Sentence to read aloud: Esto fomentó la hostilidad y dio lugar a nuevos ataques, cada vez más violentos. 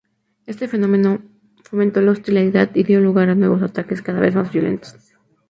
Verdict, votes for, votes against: rejected, 0, 2